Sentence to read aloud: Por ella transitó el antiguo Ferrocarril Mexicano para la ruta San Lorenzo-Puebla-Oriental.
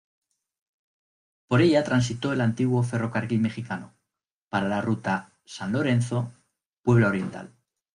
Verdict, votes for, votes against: accepted, 2, 0